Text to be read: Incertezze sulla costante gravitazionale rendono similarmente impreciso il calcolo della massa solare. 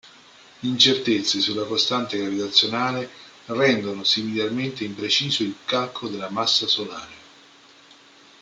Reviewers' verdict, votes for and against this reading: accepted, 2, 0